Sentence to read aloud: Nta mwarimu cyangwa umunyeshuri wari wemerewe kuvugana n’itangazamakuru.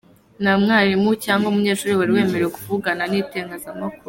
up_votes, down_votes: 1, 2